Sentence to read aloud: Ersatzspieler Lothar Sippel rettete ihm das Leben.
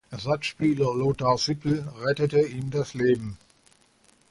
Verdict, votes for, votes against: accepted, 2, 0